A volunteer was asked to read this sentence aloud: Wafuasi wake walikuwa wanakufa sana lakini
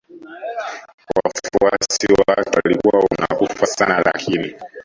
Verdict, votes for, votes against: rejected, 0, 2